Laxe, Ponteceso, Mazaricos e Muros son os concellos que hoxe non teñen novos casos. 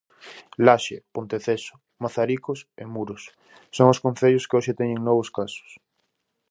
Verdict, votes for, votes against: rejected, 0, 2